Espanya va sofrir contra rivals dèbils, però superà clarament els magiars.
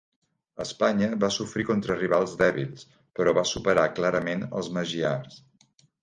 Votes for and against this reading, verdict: 1, 2, rejected